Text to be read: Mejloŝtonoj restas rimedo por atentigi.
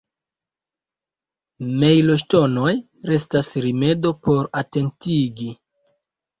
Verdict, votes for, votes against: accepted, 2, 0